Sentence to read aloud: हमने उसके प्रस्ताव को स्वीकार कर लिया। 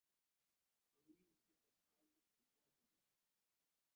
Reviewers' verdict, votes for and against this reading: rejected, 0, 2